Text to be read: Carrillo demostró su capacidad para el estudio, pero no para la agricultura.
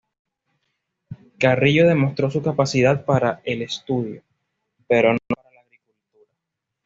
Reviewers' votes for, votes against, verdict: 1, 2, rejected